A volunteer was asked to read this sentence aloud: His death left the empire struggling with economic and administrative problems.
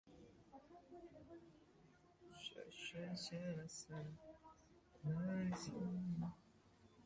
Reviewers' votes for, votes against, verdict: 0, 2, rejected